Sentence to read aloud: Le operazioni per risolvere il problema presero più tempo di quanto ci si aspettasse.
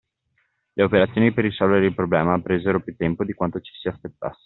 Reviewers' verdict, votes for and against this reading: rejected, 1, 2